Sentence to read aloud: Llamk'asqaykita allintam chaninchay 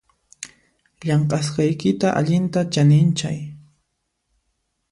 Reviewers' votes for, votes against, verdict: 2, 0, accepted